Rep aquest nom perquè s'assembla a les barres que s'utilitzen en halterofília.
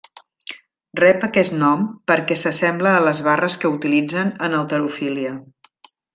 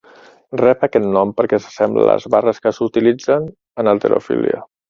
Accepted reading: second